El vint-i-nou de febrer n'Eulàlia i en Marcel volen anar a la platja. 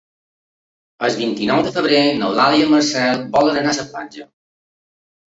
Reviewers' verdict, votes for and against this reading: rejected, 0, 2